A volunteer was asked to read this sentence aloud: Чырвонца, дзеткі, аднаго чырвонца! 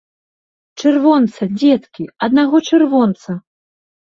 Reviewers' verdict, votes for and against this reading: accepted, 2, 0